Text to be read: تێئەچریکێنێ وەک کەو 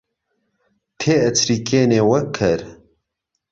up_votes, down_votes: 1, 2